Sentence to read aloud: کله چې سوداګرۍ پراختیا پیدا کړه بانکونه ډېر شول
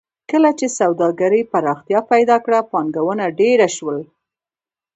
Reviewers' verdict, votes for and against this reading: rejected, 0, 2